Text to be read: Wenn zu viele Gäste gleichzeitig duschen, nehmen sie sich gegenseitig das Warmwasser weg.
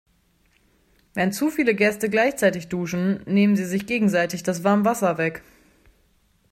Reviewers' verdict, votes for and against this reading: accepted, 2, 0